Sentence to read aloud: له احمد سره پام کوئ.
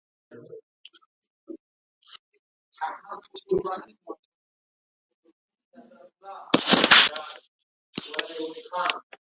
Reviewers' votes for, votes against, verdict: 0, 2, rejected